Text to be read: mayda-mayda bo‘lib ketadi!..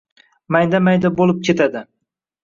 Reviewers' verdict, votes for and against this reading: rejected, 1, 2